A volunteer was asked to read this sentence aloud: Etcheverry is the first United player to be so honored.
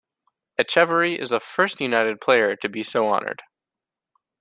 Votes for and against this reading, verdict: 2, 0, accepted